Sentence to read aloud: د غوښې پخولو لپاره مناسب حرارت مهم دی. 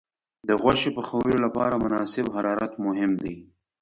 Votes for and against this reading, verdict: 2, 0, accepted